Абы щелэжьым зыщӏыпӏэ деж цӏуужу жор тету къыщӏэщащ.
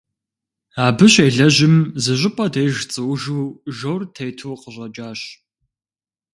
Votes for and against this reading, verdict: 2, 0, accepted